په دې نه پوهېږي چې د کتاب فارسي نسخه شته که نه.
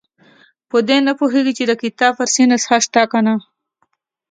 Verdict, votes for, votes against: accepted, 2, 0